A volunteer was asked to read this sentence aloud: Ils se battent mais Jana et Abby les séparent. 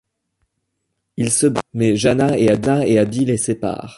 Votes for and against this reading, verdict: 1, 2, rejected